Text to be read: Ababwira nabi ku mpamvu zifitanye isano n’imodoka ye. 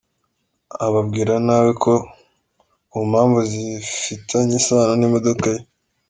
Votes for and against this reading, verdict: 0, 2, rejected